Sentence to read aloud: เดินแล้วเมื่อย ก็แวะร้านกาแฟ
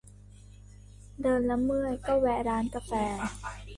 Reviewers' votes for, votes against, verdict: 1, 2, rejected